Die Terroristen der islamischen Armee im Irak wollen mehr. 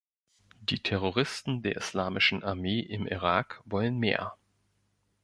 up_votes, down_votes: 3, 0